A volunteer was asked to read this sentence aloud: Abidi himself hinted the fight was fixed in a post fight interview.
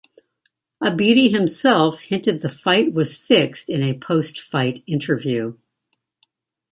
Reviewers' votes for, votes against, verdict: 2, 0, accepted